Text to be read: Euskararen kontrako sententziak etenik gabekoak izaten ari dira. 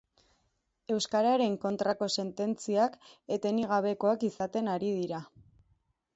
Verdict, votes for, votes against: accepted, 2, 0